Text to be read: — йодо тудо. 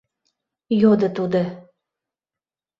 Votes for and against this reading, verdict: 2, 0, accepted